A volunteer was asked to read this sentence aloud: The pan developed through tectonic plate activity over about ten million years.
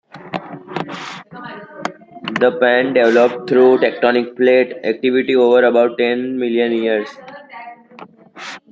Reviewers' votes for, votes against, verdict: 0, 2, rejected